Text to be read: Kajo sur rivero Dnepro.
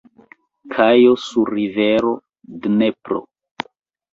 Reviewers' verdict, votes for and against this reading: rejected, 0, 2